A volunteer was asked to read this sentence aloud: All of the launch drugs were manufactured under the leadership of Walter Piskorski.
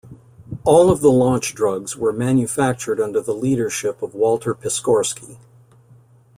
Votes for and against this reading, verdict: 2, 0, accepted